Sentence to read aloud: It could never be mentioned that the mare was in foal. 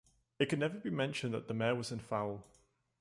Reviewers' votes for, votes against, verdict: 2, 0, accepted